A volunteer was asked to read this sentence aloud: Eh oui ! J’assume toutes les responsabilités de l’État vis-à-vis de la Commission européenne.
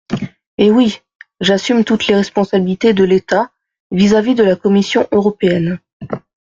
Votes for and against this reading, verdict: 2, 0, accepted